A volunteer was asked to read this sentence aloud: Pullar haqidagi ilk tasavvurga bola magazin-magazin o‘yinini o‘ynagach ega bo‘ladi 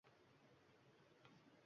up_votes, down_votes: 1, 2